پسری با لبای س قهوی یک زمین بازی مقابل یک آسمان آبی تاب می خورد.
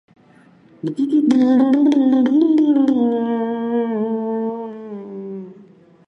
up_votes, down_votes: 0, 2